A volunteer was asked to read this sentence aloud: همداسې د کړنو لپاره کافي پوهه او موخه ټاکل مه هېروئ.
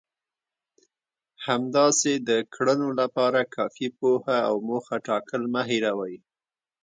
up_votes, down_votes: 0, 2